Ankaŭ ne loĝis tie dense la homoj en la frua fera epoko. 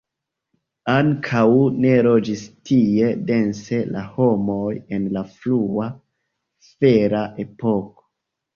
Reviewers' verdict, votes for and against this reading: accepted, 2, 1